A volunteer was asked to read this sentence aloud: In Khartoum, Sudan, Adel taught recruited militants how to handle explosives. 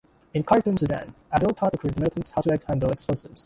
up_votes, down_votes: 0, 2